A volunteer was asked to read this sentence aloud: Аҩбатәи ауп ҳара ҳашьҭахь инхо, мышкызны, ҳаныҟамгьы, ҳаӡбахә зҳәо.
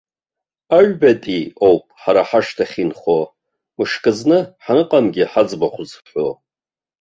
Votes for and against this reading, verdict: 0, 2, rejected